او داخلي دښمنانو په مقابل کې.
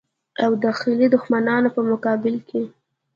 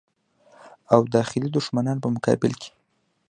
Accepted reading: first